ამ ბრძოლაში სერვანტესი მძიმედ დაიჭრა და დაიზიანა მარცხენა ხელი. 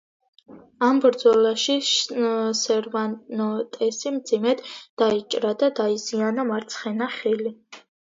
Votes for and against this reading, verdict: 1, 2, rejected